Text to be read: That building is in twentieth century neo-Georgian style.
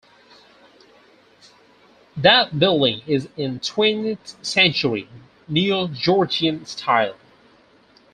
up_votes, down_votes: 0, 4